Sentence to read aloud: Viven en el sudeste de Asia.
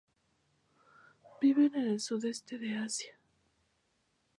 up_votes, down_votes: 2, 0